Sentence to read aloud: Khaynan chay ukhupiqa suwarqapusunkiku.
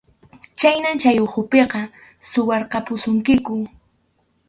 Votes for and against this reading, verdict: 2, 2, rejected